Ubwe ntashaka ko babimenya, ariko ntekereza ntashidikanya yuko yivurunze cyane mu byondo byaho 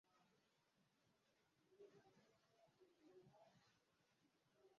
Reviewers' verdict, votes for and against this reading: rejected, 0, 2